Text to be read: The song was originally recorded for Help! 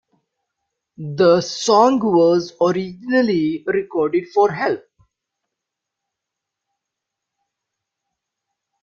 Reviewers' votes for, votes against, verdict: 1, 2, rejected